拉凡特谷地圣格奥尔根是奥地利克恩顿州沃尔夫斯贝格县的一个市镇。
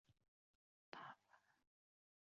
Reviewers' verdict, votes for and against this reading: rejected, 0, 4